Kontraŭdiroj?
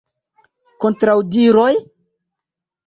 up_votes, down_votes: 2, 0